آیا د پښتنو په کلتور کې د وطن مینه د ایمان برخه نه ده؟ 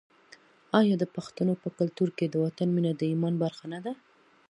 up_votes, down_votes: 2, 0